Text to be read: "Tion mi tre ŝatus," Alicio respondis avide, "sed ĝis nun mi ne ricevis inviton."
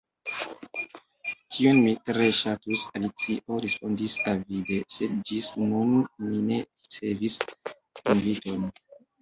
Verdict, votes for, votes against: rejected, 0, 2